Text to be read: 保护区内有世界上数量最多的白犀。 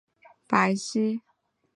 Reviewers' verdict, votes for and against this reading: rejected, 1, 2